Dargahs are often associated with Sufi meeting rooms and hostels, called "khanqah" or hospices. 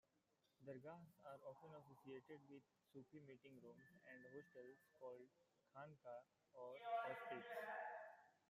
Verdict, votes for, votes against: rejected, 1, 2